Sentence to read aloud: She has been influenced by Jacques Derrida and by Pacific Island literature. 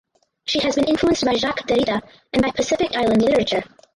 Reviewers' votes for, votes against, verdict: 2, 2, rejected